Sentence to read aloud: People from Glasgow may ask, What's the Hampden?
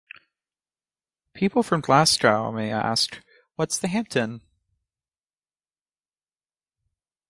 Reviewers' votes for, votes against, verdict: 2, 0, accepted